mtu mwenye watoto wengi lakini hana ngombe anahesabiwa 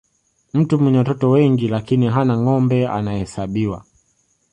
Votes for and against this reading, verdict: 2, 1, accepted